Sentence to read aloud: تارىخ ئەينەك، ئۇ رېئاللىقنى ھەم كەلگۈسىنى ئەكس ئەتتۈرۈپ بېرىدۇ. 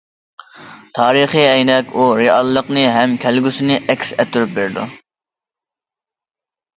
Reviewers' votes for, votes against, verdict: 0, 2, rejected